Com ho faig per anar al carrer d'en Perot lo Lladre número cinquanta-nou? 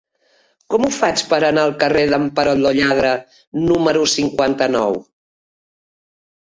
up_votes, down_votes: 2, 1